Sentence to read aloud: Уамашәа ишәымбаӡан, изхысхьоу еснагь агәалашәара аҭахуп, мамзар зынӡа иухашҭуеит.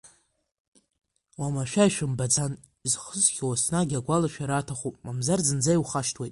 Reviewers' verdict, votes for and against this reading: accepted, 2, 1